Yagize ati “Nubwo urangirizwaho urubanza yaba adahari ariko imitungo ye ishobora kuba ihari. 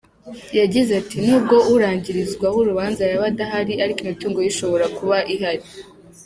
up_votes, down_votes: 2, 0